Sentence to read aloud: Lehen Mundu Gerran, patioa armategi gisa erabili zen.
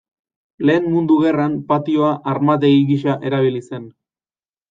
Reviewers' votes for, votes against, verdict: 2, 0, accepted